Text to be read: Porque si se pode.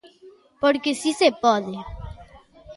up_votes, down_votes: 2, 0